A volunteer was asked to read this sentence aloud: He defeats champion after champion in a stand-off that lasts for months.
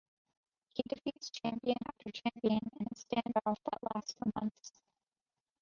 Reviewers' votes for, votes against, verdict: 0, 2, rejected